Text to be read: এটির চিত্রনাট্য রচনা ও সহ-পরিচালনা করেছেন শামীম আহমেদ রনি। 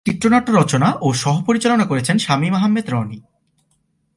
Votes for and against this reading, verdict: 0, 2, rejected